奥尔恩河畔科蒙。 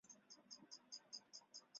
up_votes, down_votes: 0, 2